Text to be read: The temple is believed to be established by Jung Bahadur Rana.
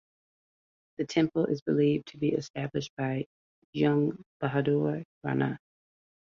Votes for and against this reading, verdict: 6, 0, accepted